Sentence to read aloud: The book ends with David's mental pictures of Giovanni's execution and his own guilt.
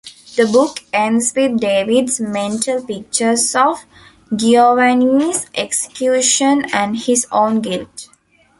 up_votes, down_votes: 0, 2